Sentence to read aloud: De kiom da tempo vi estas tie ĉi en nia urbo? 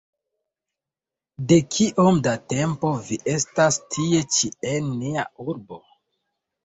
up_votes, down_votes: 2, 0